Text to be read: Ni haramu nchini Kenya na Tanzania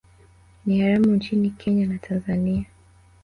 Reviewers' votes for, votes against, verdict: 2, 0, accepted